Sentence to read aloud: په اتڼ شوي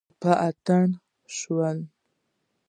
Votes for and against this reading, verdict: 1, 2, rejected